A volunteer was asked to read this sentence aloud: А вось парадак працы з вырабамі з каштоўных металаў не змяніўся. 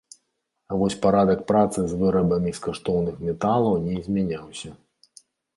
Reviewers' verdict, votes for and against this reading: rejected, 1, 2